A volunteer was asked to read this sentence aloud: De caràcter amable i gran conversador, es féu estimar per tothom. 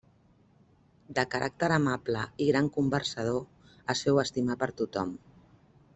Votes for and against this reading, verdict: 2, 0, accepted